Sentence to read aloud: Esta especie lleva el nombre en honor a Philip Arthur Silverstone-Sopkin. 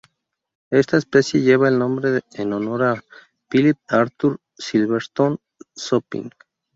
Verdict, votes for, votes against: accepted, 2, 0